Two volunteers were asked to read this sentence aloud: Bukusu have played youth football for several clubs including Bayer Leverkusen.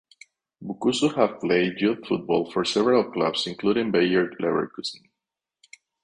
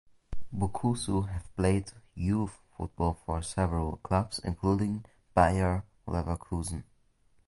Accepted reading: second